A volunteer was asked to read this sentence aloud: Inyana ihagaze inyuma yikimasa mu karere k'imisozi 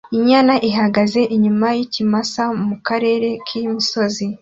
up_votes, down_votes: 2, 0